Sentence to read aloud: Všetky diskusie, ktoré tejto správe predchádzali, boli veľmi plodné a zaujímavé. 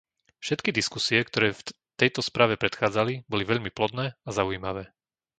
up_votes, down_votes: 0, 2